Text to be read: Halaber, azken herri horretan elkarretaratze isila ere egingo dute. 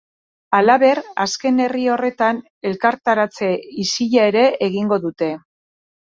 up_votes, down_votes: 0, 2